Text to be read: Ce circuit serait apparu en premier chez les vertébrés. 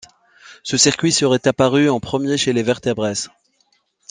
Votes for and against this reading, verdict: 1, 2, rejected